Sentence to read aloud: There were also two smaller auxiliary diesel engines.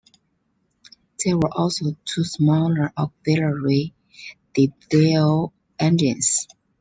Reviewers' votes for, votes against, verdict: 0, 2, rejected